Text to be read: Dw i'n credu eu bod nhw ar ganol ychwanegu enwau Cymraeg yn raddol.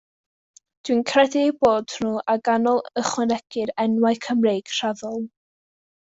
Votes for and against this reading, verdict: 0, 2, rejected